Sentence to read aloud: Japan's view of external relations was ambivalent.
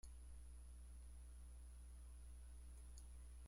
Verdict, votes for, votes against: rejected, 0, 2